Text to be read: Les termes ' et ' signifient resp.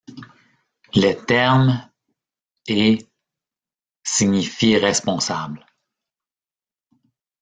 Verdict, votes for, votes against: rejected, 0, 2